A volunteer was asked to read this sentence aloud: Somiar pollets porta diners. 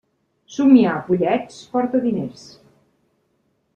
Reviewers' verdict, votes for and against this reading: accepted, 2, 0